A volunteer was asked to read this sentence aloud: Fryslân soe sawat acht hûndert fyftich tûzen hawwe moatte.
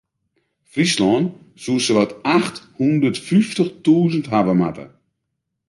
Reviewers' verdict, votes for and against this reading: accepted, 2, 0